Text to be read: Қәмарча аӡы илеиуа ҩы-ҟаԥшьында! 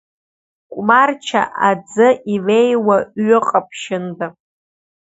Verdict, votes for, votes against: accepted, 3, 1